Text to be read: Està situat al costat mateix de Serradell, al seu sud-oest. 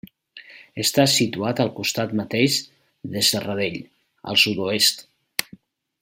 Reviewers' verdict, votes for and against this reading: rejected, 0, 2